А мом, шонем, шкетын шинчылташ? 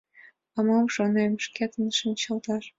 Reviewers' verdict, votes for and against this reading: accepted, 2, 0